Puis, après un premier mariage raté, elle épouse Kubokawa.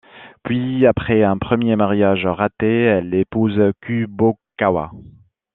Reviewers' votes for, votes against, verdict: 2, 0, accepted